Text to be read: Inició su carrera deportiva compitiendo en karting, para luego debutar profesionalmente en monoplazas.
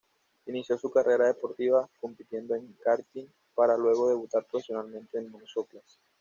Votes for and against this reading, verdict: 2, 0, accepted